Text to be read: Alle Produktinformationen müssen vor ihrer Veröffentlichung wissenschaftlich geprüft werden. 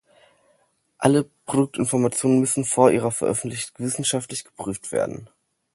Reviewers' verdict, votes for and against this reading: rejected, 1, 2